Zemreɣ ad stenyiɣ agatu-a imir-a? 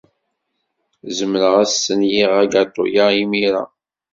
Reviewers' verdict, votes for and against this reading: accepted, 2, 0